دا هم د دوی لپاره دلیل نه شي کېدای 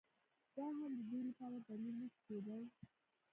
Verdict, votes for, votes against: rejected, 0, 2